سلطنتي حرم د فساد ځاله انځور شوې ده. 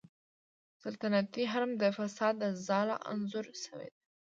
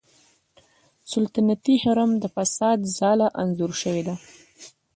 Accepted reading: first